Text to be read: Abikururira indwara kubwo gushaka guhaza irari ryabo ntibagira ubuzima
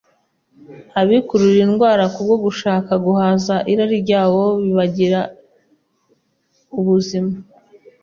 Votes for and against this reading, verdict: 1, 3, rejected